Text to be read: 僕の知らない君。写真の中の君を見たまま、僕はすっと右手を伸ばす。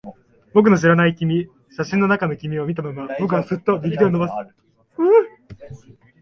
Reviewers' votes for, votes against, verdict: 2, 1, accepted